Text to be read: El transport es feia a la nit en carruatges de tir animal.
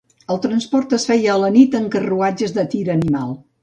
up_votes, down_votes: 2, 0